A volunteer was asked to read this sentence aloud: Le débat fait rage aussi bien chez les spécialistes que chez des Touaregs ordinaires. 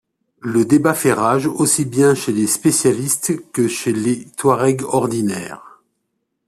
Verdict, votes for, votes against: rejected, 1, 2